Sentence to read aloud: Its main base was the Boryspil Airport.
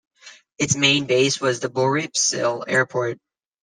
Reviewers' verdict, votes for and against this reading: rejected, 0, 2